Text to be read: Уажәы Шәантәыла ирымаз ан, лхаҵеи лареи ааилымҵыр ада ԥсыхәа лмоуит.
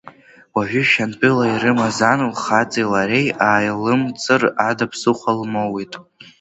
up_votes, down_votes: 1, 2